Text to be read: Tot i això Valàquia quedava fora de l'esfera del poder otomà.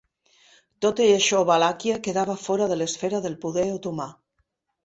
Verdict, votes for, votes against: accepted, 2, 0